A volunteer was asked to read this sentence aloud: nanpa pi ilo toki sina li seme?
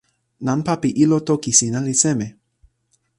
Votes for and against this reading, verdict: 2, 0, accepted